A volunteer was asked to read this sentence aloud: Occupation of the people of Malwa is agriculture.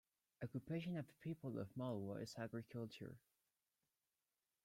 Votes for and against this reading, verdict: 2, 0, accepted